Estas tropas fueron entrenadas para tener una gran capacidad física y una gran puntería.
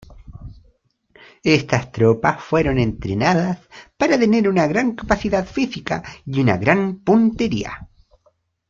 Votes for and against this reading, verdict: 1, 2, rejected